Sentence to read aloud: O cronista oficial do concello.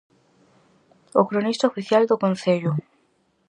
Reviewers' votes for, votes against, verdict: 4, 0, accepted